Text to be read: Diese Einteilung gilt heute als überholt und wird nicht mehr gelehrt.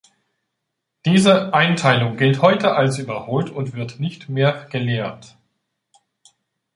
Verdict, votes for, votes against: accepted, 2, 0